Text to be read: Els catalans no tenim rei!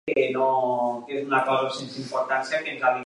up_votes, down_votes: 0, 2